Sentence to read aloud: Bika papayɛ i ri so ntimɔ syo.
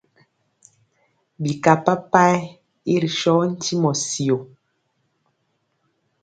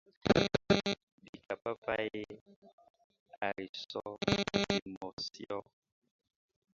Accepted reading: first